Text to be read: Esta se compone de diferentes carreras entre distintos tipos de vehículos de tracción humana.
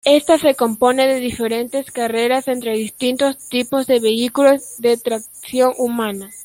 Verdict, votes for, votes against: rejected, 1, 2